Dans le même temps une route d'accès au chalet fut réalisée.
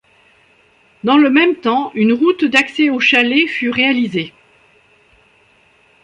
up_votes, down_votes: 2, 0